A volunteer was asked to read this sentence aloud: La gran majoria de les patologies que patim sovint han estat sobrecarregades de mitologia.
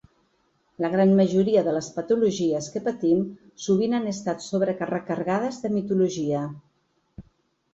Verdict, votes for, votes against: rejected, 1, 4